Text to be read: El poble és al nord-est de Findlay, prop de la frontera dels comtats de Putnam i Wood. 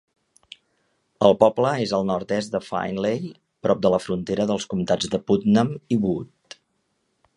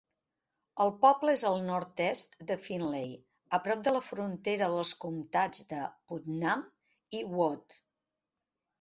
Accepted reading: first